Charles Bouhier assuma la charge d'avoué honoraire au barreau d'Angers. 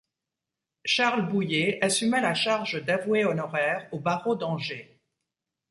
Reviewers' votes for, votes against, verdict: 2, 0, accepted